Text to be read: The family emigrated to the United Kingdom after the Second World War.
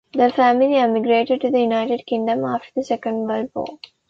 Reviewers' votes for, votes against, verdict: 2, 1, accepted